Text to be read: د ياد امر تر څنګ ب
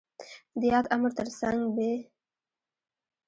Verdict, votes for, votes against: rejected, 0, 2